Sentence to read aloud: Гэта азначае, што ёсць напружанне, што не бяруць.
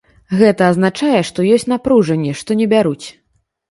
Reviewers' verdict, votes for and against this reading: accepted, 2, 0